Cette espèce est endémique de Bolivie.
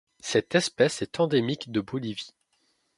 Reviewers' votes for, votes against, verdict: 2, 0, accepted